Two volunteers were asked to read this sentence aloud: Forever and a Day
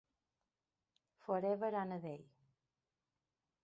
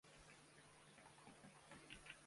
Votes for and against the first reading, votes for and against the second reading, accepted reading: 2, 1, 0, 2, first